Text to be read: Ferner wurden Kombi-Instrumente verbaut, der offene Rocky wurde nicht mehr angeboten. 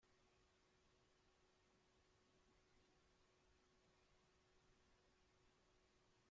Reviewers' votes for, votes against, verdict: 0, 2, rejected